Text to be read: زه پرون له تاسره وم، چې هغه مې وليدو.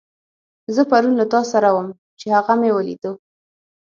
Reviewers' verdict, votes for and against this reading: accepted, 6, 0